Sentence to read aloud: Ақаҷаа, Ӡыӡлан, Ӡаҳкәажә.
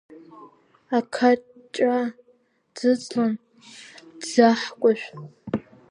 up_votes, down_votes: 1, 2